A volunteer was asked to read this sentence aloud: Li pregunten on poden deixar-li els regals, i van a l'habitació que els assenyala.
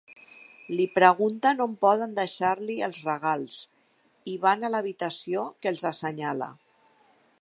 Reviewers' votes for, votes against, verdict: 3, 0, accepted